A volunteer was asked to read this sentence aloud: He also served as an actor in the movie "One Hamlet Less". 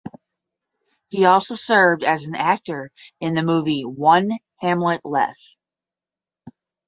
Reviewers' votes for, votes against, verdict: 10, 0, accepted